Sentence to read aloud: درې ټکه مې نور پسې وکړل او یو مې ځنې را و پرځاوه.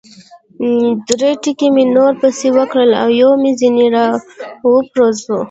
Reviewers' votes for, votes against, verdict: 0, 2, rejected